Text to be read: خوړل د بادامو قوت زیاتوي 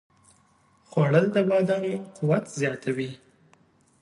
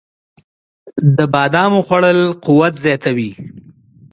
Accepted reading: first